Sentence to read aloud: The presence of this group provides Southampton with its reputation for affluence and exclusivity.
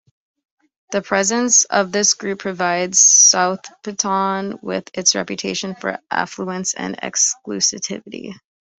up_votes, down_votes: 0, 2